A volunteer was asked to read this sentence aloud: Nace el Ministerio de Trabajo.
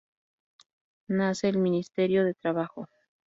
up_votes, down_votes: 2, 0